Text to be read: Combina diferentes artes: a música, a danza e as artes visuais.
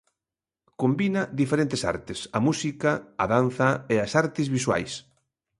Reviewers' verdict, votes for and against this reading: accepted, 2, 0